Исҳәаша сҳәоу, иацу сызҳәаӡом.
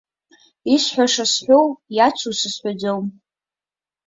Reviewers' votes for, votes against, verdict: 4, 1, accepted